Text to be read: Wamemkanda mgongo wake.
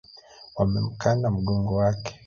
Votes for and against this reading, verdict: 2, 0, accepted